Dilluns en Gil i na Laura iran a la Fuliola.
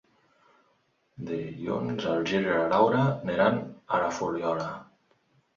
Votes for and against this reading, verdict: 1, 2, rejected